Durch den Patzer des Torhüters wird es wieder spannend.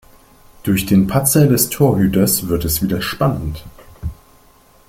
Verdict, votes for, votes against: accepted, 2, 0